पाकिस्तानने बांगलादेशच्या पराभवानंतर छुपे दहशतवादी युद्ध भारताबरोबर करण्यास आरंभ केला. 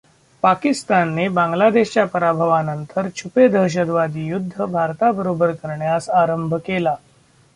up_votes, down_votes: 2, 1